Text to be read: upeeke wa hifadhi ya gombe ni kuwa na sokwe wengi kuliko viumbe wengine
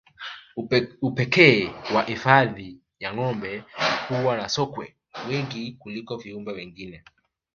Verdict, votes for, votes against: rejected, 0, 2